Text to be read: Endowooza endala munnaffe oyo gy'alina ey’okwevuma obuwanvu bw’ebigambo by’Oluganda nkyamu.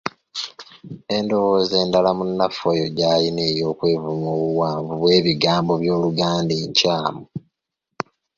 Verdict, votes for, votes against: rejected, 0, 2